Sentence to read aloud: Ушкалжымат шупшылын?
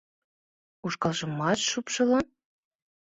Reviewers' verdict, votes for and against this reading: accepted, 2, 0